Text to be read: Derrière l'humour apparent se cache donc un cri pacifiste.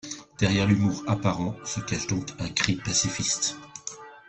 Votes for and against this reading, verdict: 3, 2, accepted